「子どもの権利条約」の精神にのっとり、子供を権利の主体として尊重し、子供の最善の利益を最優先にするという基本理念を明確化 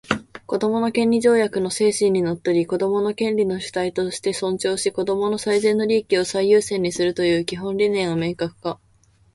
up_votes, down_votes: 2, 0